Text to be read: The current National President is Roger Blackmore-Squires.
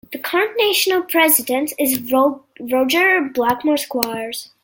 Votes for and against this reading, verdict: 0, 3, rejected